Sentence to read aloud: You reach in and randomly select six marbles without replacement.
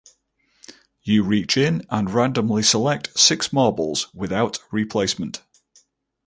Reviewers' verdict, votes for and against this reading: accepted, 4, 0